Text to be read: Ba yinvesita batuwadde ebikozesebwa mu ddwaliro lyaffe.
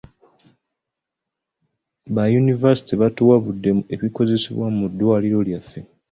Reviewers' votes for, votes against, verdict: 1, 2, rejected